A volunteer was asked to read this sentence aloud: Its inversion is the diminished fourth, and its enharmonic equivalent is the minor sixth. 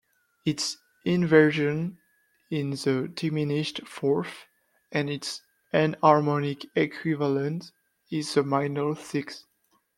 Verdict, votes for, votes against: rejected, 0, 2